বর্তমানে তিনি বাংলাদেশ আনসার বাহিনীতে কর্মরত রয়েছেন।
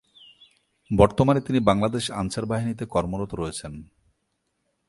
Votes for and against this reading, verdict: 2, 0, accepted